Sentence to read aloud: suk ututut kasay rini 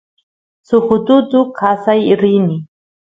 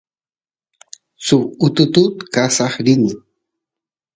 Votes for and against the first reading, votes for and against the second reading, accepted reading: 0, 2, 2, 0, second